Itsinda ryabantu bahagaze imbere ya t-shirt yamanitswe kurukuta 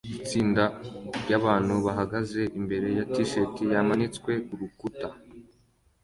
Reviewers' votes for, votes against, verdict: 2, 0, accepted